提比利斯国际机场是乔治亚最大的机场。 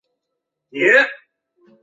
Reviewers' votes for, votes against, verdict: 1, 2, rejected